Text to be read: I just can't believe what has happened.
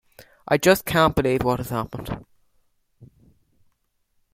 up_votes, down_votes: 2, 0